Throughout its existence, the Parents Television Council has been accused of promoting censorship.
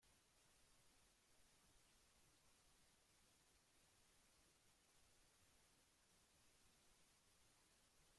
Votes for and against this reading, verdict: 0, 2, rejected